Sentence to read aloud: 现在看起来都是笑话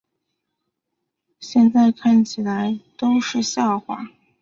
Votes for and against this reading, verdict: 3, 0, accepted